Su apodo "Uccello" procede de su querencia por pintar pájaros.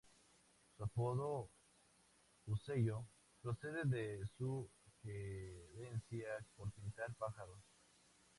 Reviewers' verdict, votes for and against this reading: rejected, 0, 2